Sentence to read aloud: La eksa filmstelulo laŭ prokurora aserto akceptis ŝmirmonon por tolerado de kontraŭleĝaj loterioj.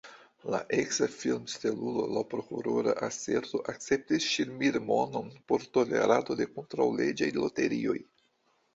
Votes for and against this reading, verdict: 2, 0, accepted